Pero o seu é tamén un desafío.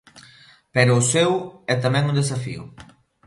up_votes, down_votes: 3, 0